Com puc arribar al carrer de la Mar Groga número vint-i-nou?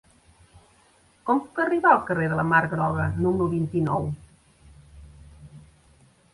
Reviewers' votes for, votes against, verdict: 2, 0, accepted